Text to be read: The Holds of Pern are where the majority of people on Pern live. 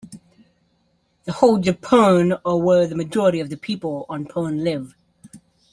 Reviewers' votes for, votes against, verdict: 1, 2, rejected